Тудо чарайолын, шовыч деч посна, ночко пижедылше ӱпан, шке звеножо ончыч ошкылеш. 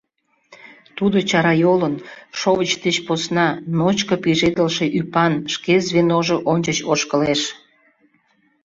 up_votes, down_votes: 3, 0